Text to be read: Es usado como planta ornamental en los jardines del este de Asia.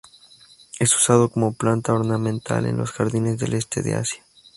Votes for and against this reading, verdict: 0, 2, rejected